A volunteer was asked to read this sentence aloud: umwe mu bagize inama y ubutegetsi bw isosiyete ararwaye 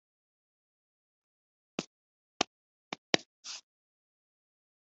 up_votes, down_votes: 0, 2